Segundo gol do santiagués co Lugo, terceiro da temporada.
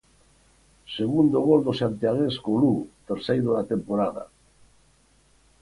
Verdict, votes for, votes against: accepted, 4, 0